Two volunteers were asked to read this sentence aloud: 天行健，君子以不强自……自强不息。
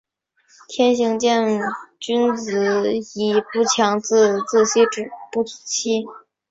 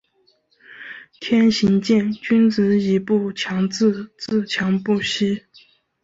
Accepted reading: second